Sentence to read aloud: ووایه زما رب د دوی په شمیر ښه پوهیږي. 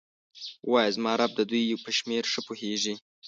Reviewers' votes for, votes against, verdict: 2, 0, accepted